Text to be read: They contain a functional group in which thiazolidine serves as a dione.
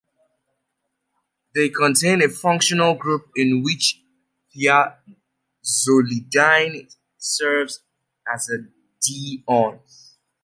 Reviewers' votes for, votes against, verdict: 2, 0, accepted